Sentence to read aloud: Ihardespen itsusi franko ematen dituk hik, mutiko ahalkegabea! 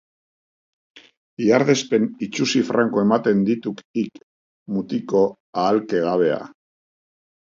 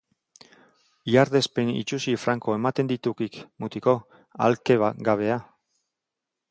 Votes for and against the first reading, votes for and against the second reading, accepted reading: 3, 0, 0, 2, first